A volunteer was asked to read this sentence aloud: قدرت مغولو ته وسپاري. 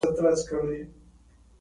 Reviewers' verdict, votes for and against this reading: rejected, 1, 2